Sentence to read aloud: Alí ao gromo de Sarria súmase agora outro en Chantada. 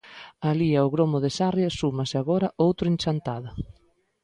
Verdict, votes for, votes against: accepted, 2, 0